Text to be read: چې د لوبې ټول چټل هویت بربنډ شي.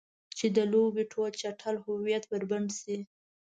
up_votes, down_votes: 2, 0